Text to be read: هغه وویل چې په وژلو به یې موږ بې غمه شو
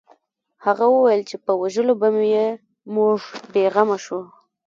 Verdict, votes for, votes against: accepted, 2, 1